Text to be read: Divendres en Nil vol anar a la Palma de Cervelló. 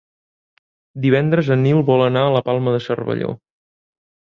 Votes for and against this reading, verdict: 2, 0, accepted